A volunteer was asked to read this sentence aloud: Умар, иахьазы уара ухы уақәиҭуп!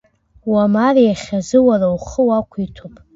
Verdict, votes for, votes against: rejected, 1, 2